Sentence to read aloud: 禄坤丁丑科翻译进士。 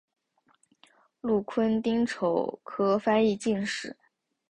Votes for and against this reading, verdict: 2, 0, accepted